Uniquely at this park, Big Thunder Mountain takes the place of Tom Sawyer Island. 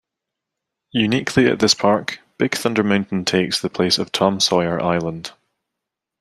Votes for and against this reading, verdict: 2, 0, accepted